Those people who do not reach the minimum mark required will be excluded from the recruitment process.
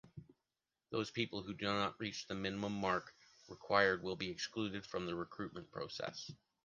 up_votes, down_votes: 2, 0